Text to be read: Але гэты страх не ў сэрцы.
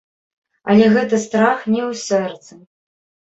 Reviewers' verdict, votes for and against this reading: rejected, 1, 2